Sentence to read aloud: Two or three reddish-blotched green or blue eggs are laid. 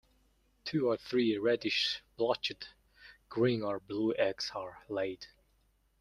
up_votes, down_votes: 2, 1